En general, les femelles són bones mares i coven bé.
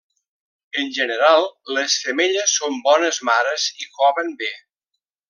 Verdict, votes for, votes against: accepted, 2, 0